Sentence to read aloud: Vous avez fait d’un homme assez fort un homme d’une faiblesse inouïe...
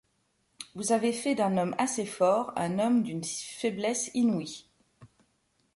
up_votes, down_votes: 1, 2